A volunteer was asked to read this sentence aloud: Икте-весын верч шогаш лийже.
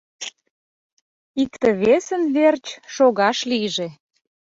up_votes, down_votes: 2, 0